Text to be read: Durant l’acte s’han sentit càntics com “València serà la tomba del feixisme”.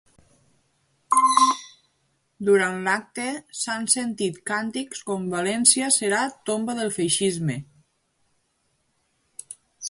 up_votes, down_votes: 0, 2